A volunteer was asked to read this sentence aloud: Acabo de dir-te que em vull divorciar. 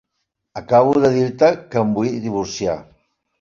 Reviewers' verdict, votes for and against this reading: accepted, 3, 0